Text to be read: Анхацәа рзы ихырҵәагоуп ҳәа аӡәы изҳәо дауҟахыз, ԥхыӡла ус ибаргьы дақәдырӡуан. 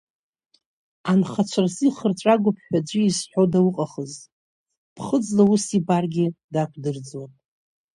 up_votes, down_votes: 2, 0